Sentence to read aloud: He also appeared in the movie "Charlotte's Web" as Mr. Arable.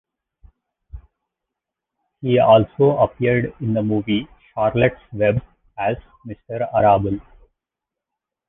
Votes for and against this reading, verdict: 1, 2, rejected